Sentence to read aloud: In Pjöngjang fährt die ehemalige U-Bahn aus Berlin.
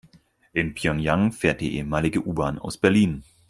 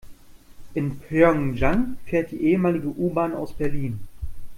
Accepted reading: second